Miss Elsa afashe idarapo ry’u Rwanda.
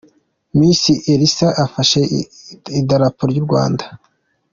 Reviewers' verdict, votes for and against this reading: accepted, 2, 1